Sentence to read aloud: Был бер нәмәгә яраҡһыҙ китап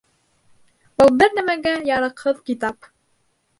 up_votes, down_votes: 2, 0